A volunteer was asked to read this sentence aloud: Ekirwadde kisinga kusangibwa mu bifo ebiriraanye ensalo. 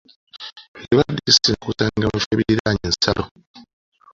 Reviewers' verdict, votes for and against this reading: rejected, 1, 2